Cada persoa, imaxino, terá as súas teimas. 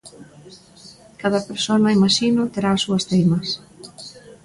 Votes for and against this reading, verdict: 0, 2, rejected